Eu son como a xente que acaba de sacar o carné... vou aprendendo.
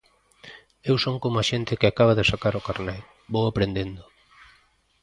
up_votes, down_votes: 2, 0